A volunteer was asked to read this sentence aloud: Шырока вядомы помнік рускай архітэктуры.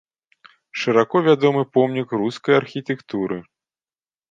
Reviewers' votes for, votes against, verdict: 1, 2, rejected